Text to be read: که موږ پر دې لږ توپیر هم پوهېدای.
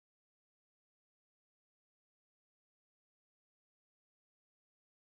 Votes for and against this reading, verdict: 4, 0, accepted